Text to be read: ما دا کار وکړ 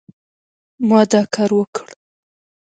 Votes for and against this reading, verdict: 2, 0, accepted